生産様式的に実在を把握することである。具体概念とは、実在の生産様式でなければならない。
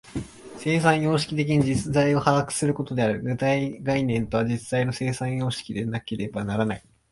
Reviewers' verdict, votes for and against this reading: accepted, 5, 1